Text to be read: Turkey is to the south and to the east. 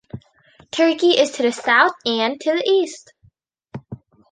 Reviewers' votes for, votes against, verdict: 2, 0, accepted